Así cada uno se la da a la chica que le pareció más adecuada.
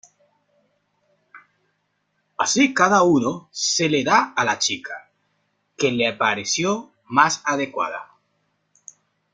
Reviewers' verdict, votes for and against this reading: rejected, 0, 2